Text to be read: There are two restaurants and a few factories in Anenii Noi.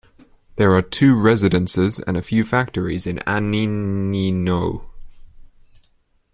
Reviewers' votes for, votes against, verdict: 0, 2, rejected